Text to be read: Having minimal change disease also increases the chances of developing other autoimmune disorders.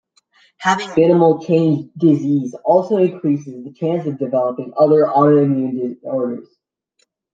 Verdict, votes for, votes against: rejected, 1, 2